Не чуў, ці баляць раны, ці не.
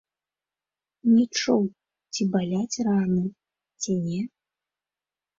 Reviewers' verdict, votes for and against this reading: rejected, 1, 2